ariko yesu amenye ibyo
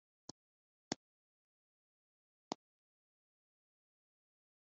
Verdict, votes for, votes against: rejected, 0, 3